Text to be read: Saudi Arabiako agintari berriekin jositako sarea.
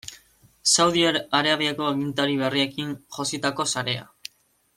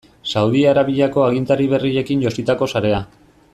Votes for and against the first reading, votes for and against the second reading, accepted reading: 1, 2, 2, 0, second